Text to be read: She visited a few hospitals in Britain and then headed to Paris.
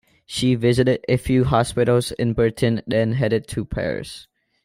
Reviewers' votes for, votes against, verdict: 2, 1, accepted